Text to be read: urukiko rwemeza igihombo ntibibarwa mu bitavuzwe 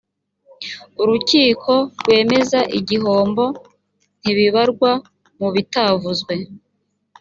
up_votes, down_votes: 3, 0